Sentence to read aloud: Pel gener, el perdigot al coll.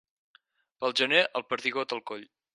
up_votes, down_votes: 4, 0